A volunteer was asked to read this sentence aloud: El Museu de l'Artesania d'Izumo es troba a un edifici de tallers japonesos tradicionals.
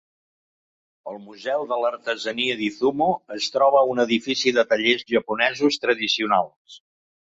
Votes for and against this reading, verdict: 2, 0, accepted